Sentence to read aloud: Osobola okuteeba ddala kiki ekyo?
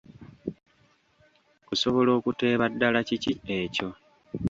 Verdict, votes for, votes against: rejected, 1, 2